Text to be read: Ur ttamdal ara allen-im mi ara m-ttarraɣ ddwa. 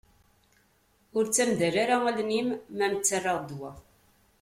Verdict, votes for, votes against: accepted, 2, 0